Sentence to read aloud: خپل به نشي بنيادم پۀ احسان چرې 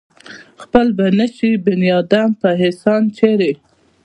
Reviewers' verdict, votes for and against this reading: rejected, 0, 2